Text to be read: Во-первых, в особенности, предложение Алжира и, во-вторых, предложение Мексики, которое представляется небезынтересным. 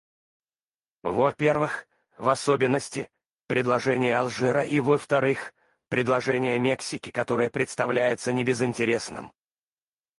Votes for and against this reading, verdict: 2, 2, rejected